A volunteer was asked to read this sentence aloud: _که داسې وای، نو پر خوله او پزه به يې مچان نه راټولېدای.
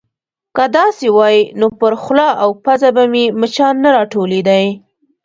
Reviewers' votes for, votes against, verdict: 0, 2, rejected